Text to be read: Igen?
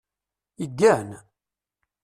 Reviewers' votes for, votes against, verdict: 0, 2, rejected